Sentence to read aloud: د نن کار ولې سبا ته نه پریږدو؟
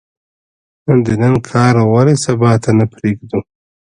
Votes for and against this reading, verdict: 0, 2, rejected